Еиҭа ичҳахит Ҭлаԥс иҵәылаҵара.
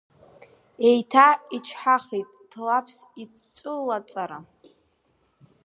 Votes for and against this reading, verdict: 0, 2, rejected